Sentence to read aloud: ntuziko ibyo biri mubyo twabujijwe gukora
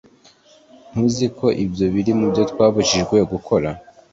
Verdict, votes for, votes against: accepted, 3, 0